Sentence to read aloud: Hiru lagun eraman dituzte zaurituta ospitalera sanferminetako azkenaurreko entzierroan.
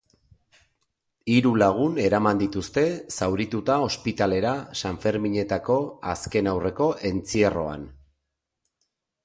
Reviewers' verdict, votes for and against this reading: accepted, 2, 0